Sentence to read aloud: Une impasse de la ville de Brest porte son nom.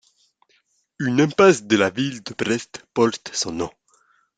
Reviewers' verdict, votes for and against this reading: accepted, 2, 0